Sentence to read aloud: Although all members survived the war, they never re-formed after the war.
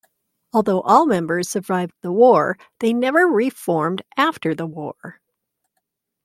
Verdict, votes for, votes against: accepted, 2, 0